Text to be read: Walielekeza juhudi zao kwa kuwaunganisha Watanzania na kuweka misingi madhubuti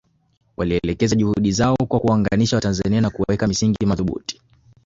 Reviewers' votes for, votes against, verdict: 4, 0, accepted